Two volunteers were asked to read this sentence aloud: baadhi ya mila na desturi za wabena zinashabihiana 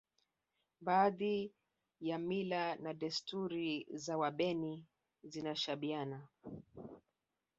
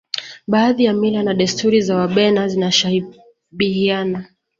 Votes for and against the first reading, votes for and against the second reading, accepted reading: 0, 2, 2, 0, second